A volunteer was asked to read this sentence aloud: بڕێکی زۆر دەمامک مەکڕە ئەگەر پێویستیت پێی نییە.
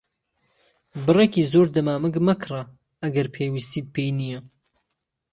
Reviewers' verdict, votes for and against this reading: accepted, 3, 0